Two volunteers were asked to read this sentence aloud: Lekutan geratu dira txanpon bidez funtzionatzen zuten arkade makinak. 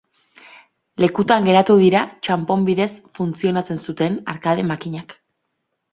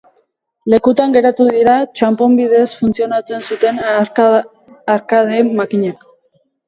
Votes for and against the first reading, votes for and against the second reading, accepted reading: 2, 0, 0, 2, first